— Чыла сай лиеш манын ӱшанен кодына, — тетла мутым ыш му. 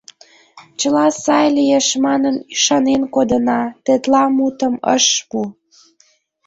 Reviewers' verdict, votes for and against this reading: rejected, 0, 2